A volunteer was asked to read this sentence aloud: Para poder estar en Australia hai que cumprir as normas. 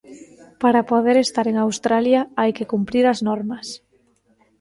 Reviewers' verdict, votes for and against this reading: accepted, 2, 0